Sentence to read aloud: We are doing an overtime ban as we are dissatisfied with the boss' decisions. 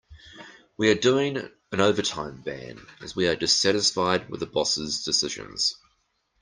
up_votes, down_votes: 1, 2